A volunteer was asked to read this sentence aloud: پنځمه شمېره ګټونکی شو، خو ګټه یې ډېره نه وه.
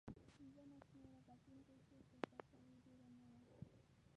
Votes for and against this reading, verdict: 0, 2, rejected